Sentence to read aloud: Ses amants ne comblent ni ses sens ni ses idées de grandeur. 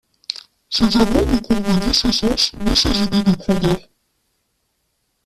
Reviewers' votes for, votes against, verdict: 0, 2, rejected